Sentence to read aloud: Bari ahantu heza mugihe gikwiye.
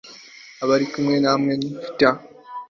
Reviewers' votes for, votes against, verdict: 1, 2, rejected